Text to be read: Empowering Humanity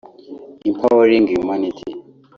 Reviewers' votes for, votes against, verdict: 1, 2, rejected